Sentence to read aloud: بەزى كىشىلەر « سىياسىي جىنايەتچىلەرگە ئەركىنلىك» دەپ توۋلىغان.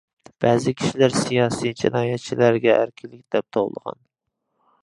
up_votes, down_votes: 2, 0